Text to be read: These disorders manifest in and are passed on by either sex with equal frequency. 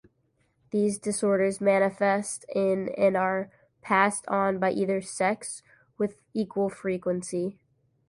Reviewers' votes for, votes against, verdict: 2, 0, accepted